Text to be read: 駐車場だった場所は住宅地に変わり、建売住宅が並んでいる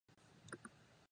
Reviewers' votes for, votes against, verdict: 0, 3, rejected